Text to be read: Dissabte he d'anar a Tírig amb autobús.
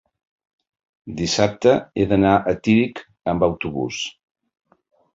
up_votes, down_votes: 0, 2